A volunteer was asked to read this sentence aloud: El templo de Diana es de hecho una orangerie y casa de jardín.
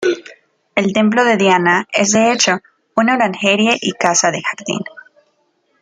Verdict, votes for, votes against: rejected, 0, 2